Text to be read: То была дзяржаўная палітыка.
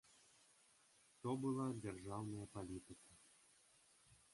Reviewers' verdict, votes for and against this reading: rejected, 0, 2